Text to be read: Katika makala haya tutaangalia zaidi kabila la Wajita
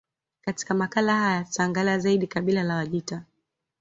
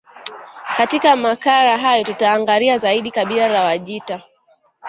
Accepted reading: first